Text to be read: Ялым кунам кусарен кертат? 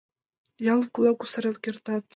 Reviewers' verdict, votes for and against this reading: rejected, 0, 2